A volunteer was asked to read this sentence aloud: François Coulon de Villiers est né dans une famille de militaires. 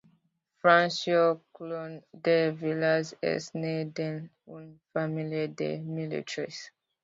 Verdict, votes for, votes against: rejected, 0, 2